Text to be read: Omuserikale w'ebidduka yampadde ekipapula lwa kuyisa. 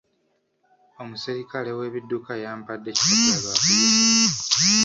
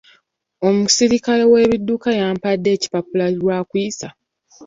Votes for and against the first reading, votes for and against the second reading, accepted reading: 1, 2, 2, 0, second